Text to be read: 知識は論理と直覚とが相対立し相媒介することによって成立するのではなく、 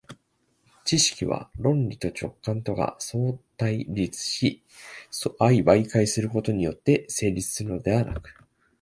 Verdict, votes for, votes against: accepted, 2, 1